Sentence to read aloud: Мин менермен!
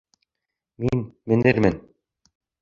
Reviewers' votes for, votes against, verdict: 0, 2, rejected